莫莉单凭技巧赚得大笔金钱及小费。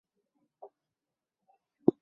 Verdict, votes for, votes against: rejected, 1, 3